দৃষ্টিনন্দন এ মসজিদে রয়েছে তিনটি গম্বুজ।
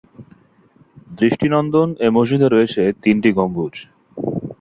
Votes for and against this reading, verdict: 2, 0, accepted